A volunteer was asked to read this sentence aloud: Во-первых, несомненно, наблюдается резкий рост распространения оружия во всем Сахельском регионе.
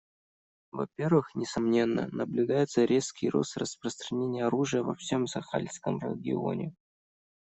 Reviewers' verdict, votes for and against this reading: rejected, 1, 2